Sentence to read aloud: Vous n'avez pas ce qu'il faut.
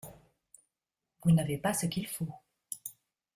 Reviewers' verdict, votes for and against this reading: accepted, 2, 0